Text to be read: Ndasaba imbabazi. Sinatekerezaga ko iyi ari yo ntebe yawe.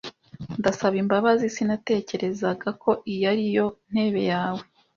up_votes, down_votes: 2, 0